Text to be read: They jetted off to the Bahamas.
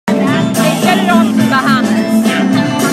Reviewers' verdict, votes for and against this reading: rejected, 1, 2